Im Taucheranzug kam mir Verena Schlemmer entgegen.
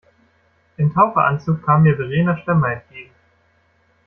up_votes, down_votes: 1, 2